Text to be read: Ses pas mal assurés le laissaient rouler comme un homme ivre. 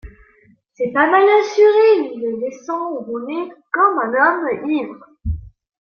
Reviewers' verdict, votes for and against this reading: rejected, 1, 2